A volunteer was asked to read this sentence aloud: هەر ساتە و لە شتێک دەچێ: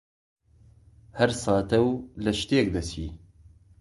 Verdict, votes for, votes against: rejected, 0, 2